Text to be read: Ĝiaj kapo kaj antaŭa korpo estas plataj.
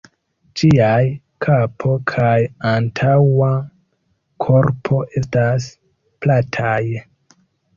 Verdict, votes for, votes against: accepted, 2, 1